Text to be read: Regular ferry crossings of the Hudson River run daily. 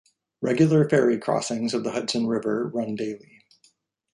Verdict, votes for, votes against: accepted, 2, 0